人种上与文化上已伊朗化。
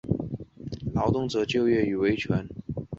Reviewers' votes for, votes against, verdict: 0, 2, rejected